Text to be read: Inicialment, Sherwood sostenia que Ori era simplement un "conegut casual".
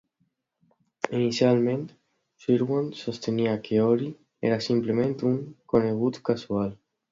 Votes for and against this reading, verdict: 2, 0, accepted